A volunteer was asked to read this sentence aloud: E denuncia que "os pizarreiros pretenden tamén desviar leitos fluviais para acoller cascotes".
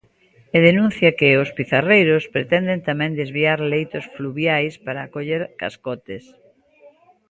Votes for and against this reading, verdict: 2, 0, accepted